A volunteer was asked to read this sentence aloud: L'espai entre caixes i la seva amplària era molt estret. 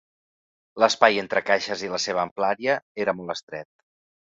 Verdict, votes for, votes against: accepted, 2, 0